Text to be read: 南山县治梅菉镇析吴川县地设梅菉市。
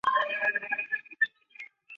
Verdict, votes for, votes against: rejected, 0, 3